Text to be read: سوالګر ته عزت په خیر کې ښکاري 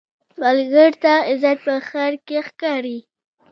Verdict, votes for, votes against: accepted, 2, 0